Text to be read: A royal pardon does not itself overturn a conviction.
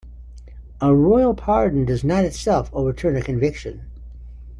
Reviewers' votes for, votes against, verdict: 3, 0, accepted